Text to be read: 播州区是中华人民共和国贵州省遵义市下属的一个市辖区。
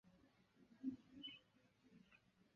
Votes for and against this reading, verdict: 0, 2, rejected